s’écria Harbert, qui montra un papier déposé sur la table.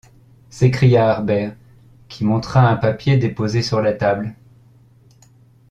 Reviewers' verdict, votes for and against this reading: accepted, 2, 0